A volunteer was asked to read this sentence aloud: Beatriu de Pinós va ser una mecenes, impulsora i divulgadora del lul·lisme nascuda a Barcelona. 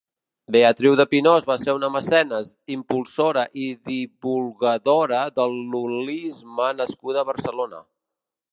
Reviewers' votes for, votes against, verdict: 2, 3, rejected